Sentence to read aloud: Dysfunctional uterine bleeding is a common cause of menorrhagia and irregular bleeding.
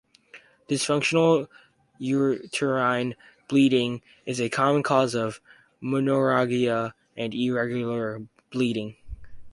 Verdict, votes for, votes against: rejected, 2, 2